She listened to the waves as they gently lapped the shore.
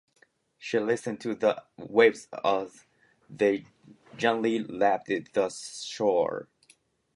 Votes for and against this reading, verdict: 3, 0, accepted